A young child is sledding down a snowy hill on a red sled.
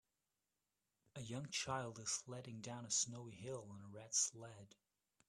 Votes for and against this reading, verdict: 2, 0, accepted